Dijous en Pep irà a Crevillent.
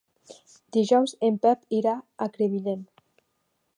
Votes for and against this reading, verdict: 2, 0, accepted